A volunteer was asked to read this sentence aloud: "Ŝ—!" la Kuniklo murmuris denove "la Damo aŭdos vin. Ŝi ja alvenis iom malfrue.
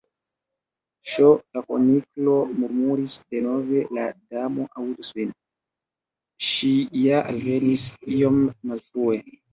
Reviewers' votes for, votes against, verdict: 0, 2, rejected